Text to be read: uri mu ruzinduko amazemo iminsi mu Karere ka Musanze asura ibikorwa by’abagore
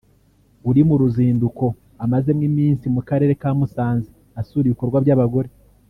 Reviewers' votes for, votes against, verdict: 0, 2, rejected